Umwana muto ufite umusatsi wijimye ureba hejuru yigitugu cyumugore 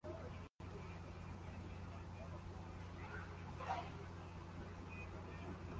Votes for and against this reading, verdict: 0, 2, rejected